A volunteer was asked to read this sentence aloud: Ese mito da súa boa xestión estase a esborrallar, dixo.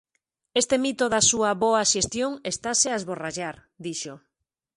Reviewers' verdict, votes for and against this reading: rejected, 0, 2